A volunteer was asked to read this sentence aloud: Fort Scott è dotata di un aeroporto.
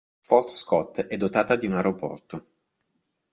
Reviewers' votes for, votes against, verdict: 2, 0, accepted